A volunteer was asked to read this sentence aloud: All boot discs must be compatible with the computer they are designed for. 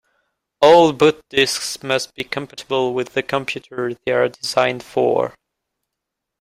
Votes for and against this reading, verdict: 0, 2, rejected